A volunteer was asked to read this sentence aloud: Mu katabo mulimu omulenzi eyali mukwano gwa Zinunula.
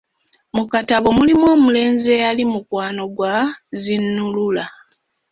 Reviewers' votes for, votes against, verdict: 1, 2, rejected